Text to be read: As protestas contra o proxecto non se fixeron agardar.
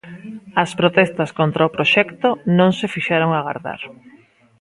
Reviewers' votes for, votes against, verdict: 2, 0, accepted